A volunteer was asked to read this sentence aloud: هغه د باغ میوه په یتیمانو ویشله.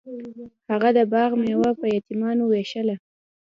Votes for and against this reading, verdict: 2, 0, accepted